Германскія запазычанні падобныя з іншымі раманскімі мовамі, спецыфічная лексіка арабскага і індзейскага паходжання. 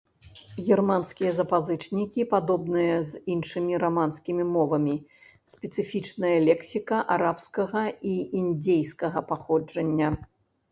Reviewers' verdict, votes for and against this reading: rejected, 1, 2